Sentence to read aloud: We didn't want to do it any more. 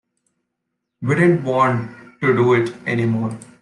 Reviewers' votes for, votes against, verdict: 2, 0, accepted